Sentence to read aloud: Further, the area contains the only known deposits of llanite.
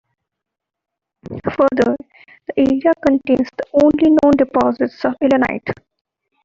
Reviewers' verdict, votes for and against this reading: accepted, 2, 1